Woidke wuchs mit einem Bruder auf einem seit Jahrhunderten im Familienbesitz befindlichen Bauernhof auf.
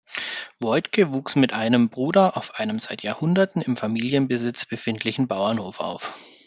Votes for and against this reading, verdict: 2, 0, accepted